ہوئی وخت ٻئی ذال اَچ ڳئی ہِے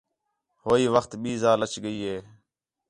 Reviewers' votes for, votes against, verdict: 4, 0, accepted